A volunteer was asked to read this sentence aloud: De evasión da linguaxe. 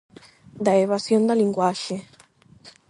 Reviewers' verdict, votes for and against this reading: rejected, 4, 4